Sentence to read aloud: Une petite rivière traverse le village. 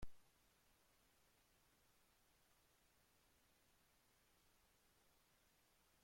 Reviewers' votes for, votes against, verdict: 1, 2, rejected